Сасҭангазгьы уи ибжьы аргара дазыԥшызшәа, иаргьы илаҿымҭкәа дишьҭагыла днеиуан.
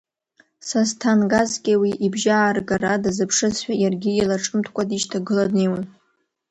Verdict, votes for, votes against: rejected, 0, 2